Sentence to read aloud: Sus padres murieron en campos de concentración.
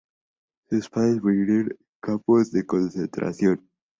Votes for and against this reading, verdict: 2, 0, accepted